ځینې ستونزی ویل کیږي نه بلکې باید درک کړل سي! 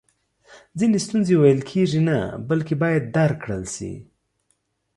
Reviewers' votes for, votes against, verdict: 2, 0, accepted